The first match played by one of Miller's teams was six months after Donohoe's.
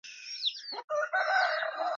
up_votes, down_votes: 0, 2